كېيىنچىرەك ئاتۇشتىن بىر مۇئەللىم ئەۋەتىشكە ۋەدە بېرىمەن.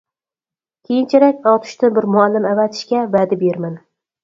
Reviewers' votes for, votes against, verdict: 4, 0, accepted